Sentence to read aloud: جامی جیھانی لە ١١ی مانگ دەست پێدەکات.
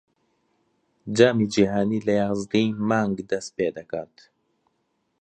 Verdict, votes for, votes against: rejected, 0, 2